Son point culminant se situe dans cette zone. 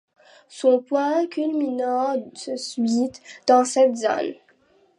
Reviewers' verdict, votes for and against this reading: rejected, 0, 2